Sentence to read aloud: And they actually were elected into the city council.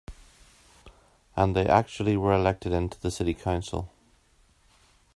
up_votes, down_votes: 3, 0